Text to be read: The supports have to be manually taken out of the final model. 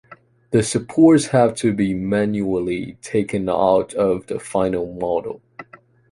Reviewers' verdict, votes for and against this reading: accepted, 2, 0